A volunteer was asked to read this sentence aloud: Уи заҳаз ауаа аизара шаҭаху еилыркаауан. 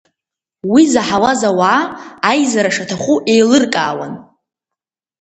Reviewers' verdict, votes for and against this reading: rejected, 1, 2